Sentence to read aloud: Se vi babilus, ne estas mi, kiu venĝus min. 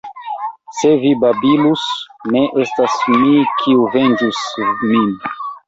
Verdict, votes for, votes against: rejected, 1, 2